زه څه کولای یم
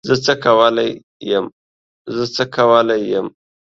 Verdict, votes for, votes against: rejected, 0, 2